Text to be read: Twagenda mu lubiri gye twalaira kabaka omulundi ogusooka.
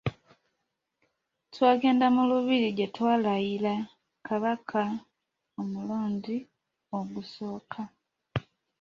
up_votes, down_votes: 0, 2